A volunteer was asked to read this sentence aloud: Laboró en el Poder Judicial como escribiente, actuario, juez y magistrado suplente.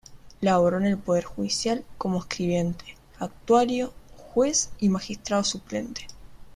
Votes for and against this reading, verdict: 2, 0, accepted